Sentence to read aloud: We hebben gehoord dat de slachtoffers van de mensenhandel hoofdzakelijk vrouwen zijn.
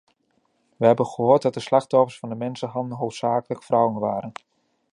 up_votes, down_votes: 0, 2